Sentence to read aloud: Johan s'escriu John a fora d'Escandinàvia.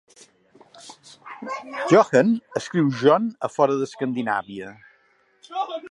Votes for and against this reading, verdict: 1, 2, rejected